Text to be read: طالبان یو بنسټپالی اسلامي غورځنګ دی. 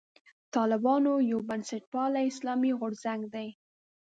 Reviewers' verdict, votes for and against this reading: rejected, 1, 2